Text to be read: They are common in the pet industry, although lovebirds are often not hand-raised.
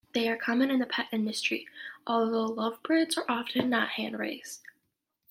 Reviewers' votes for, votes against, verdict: 2, 0, accepted